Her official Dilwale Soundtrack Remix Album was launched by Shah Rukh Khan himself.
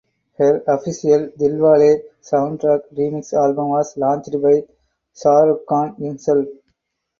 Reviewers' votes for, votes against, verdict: 4, 2, accepted